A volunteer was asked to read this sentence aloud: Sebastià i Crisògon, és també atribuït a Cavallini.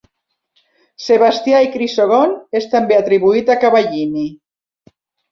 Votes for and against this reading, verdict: 2, 0, accepted